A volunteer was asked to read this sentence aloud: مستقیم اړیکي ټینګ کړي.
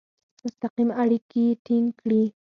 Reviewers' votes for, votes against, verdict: 0, 4, rejected